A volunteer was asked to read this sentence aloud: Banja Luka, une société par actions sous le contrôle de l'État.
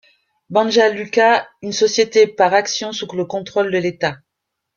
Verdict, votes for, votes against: rejected, 0, 2